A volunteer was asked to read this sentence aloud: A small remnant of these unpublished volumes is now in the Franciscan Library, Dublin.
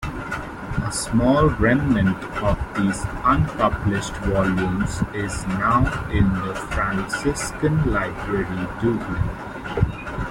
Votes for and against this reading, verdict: 2, 0, accepted